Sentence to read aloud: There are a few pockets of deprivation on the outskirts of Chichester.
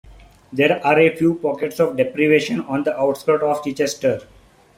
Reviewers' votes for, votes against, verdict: 0, 2, rejected